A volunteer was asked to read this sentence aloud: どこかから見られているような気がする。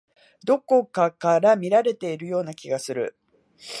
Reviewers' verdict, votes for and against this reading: accepted, 3, 1